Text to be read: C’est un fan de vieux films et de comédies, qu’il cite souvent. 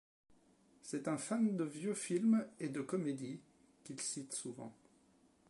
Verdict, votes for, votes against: accepted, 2, 0